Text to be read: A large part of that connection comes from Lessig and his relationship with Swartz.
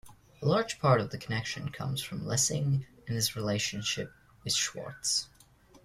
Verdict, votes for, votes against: accepted, 2, 1